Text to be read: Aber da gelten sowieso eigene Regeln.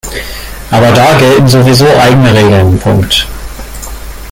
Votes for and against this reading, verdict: 1, 2, rejected